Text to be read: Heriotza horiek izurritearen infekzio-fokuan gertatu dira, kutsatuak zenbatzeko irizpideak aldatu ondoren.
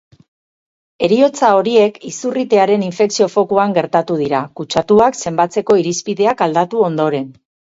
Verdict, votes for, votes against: accepted, 4, 0